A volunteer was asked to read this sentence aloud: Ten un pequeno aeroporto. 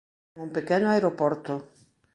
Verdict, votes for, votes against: rejected, 0, 2